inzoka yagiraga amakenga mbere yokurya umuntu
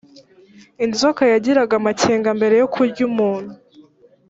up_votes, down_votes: 3, 0